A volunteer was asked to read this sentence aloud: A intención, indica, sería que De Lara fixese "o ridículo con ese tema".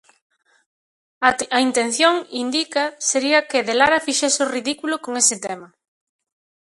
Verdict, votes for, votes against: rejected, 0, 2